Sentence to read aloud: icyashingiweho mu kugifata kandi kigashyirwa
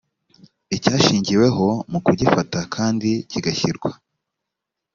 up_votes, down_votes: 2, 0